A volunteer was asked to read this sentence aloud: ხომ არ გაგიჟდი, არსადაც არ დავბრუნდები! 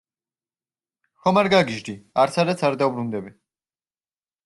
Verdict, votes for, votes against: rejected, 0, 2